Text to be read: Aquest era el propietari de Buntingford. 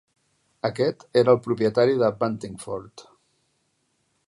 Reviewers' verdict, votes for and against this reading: accepted, 2, 0